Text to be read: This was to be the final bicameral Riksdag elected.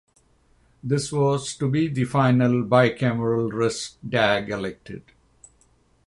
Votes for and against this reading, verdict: 3, 3, rejected